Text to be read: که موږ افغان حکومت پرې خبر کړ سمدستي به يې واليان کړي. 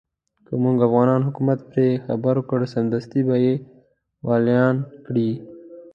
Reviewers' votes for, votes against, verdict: 2, 0, accepted